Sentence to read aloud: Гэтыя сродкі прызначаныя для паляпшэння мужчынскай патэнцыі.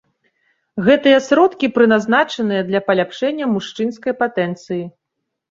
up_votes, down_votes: 1, 2